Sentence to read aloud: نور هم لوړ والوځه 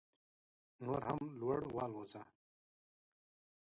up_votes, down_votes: 0, 2